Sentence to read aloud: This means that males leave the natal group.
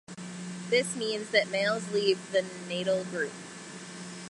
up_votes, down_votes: 2, 0